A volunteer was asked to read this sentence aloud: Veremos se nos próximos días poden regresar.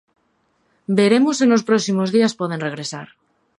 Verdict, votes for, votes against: accepted, 2, 0